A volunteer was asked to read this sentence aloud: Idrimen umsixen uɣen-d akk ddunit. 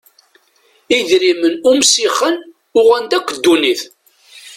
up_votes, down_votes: 2, 0